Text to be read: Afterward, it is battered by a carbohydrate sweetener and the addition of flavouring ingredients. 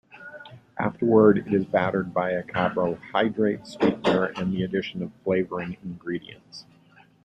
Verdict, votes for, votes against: rejected, 1, 2